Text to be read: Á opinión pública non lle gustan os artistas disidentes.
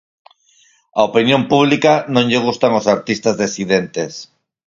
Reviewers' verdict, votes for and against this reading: rejected, 0, 4